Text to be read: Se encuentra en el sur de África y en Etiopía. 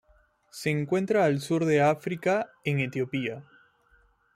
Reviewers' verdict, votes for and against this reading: rejected, 1, 2